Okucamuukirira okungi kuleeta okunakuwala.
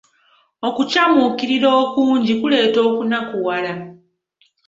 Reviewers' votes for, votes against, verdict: 2, 0, accepted